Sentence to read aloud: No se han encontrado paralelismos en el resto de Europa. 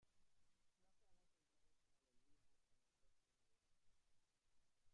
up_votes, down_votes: 0, 2